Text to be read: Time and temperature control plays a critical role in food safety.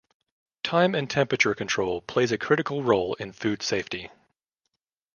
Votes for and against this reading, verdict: 2, 1, accepted